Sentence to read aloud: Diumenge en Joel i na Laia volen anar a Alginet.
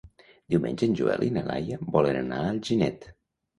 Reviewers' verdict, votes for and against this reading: rejected, 1, 2